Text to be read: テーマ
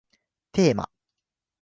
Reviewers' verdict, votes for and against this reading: accepted, 2, 0